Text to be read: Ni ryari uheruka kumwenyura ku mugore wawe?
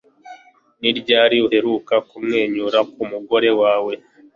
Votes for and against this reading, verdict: 2, 0, accepted